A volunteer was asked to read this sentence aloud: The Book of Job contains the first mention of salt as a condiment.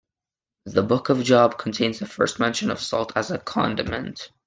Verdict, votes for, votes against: accepted, 2, 1